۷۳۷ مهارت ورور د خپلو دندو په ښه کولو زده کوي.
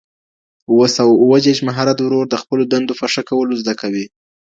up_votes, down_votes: 0, 2